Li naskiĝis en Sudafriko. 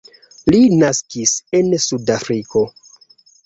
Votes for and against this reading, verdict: 0, 2, rejected